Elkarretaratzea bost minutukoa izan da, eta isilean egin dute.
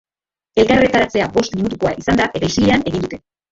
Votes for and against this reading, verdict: 0, 2, rejected